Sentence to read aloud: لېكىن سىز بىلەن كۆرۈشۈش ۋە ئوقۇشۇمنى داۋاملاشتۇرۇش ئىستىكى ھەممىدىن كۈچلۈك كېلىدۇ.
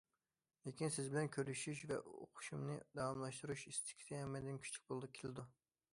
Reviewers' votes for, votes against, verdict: 0, 2, rejected